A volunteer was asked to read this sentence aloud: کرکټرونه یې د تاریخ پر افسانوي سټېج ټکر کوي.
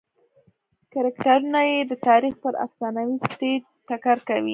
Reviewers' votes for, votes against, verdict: 1, 2, rejected